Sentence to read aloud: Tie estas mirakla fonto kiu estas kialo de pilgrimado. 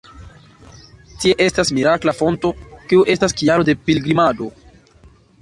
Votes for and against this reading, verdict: 2, 0, accepted